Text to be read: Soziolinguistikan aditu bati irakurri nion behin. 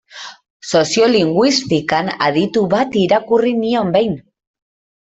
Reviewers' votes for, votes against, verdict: 1, 2, rejected